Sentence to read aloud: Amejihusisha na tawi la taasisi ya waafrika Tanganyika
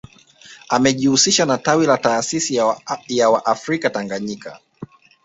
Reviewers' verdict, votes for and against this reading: accepted, 3, 1